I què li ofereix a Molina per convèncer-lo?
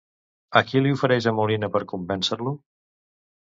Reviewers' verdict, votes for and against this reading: rejected, 0, 2